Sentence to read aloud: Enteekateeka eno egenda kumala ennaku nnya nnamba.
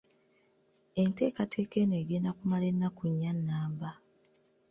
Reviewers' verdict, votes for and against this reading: accepted, 2, 0